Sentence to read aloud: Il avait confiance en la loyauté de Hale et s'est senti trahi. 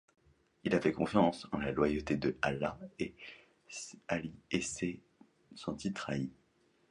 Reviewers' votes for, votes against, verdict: 1, 2, rejected